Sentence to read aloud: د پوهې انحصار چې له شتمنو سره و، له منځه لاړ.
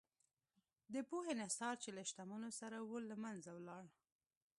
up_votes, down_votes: 2, 1